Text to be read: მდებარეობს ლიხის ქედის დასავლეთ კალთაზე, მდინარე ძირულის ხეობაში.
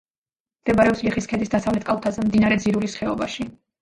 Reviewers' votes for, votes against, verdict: 1, 2, rejected